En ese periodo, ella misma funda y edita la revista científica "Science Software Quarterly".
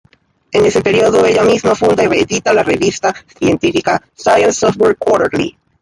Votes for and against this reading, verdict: 0, 2, rejected